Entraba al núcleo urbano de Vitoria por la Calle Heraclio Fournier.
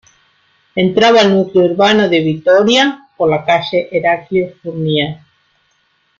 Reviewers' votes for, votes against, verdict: 3, 1, accepted